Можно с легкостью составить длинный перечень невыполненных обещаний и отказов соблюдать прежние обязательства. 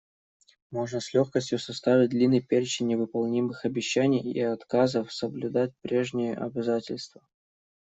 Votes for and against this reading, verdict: 1, 2, rejected